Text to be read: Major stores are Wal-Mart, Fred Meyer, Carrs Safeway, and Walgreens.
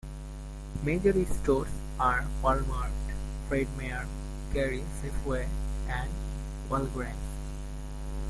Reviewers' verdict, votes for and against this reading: rejected, 0, 2